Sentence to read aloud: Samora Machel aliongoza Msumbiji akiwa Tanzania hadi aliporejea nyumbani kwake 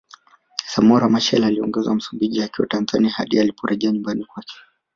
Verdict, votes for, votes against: rejected, 0, 2